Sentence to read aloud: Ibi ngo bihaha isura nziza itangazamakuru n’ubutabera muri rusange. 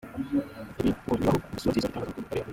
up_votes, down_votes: 0, 2